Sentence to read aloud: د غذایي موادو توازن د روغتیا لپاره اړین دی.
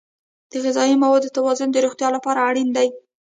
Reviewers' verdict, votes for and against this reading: rejected, 1, 2